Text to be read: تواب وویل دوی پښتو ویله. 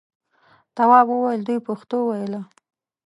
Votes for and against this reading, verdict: 2, 0, accepted